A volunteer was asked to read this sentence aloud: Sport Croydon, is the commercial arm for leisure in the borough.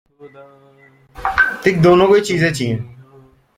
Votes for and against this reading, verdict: 0, 2, rejected